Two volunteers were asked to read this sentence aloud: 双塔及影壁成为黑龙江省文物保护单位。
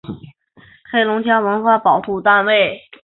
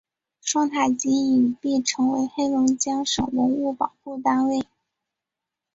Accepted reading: second